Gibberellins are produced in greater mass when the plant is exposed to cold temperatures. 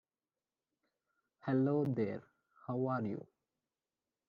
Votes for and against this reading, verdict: 0, 2, rejected